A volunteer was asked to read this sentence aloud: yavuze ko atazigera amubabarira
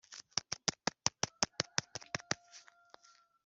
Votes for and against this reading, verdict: 0, 3, rejected